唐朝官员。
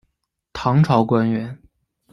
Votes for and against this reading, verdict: 2, 0, accepted